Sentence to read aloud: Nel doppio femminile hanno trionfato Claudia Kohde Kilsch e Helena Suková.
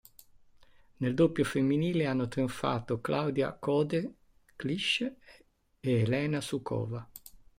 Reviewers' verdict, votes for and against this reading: rejected, 0, 2